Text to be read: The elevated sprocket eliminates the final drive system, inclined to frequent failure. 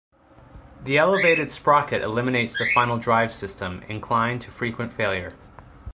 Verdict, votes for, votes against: rejected, 1, 2